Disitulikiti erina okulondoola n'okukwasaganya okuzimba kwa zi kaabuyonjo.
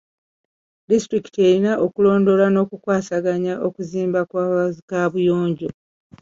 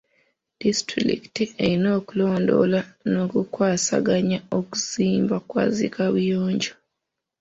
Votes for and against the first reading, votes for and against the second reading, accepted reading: 2, 1, 0, 2, first